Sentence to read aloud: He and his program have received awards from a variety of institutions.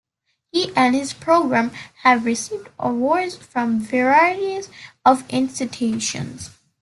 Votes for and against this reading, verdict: 2, 1, accepted